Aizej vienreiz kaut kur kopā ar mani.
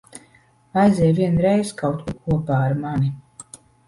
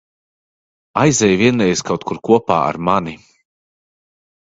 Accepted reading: second